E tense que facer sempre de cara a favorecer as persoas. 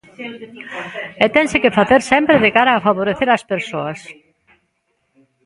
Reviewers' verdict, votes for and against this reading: accepted, 2, 0